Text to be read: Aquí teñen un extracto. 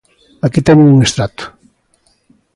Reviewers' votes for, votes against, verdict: 2, 1, accepted